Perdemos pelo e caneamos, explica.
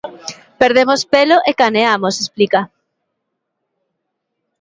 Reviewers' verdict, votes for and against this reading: rejected, 0, 2